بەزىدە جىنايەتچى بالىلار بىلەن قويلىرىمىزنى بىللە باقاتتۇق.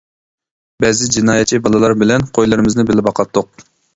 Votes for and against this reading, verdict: 0, 2, rejected